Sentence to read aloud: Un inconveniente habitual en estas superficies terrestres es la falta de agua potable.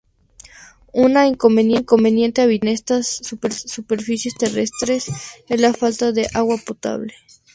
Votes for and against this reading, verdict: 0, 2, rejected